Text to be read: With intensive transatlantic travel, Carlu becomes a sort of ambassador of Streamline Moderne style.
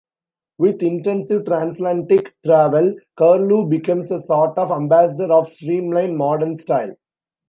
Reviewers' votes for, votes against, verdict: 2, 0, accepted